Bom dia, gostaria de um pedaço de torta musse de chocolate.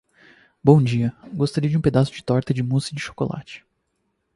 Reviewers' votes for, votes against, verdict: 4, 0, accepted